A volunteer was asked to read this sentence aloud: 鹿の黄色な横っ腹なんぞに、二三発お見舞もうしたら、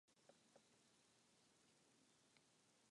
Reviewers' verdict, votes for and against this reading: rejected, 0, 2